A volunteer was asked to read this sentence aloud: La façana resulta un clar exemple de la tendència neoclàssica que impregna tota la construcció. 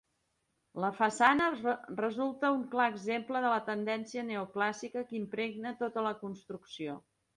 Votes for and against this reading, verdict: 2, 1, accepted